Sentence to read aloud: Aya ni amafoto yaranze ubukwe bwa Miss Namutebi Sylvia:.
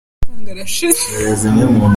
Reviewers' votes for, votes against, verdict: 0, 3, rejected